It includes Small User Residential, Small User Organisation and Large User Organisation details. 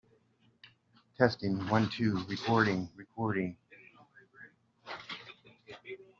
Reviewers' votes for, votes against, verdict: 0, 2, rejected